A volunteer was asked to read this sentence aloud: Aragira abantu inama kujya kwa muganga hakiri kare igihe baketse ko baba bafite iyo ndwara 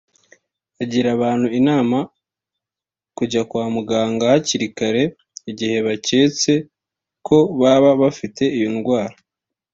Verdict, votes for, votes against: accepted, 2, 1